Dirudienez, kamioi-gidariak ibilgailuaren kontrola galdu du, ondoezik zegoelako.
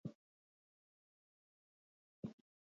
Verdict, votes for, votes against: rejected, 0, 2